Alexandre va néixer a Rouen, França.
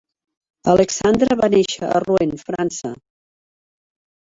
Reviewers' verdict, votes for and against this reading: accepted, 3, 2